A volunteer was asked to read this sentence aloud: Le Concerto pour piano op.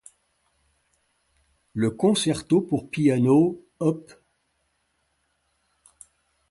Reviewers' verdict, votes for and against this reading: accepted, 2, 0